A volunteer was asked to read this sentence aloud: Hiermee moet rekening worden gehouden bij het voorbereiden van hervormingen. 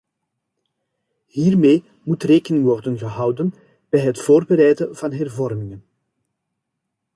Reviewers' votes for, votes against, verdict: 2, 0, accepted